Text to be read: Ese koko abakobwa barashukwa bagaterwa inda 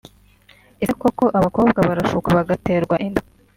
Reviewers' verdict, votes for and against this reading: accepted, 2, 0